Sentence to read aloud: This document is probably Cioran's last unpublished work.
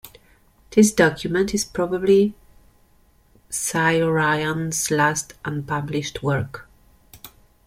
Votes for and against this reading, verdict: 2, 1, accepted